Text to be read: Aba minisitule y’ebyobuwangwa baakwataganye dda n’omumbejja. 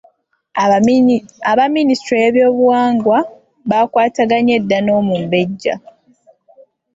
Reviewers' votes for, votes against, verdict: 1, 2, rejected